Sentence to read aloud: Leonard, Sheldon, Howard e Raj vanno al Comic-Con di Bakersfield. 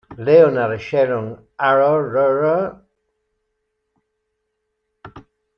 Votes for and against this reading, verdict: 0, 2, rejected